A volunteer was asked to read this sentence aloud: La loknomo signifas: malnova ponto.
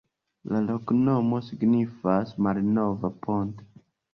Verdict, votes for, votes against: accepted, 2, 1